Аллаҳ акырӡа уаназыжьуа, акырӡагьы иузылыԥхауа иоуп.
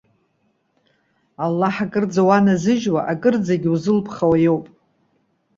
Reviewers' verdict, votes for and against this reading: accepted, 2, 0